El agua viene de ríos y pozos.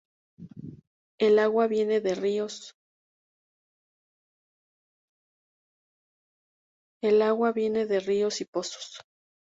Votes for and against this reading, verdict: 0, 2, rejected